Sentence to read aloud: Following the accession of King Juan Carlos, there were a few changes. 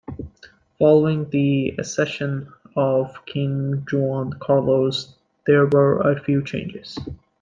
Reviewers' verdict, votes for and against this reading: accepted, 2, 0